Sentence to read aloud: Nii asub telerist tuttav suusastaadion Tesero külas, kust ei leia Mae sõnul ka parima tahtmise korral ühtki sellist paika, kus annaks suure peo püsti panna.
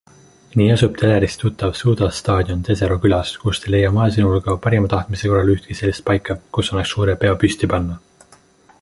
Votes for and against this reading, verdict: 2, 0, accepted